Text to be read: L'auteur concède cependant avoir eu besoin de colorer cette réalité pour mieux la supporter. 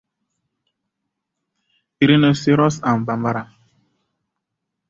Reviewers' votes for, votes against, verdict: 1, 2, rejected